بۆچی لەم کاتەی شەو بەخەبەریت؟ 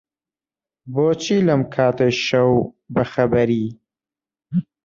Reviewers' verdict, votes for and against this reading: rejected, 1, 2